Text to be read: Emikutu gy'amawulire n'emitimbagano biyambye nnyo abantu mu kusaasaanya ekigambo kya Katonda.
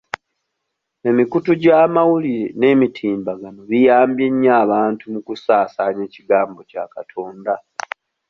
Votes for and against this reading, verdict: 2, 0, accepted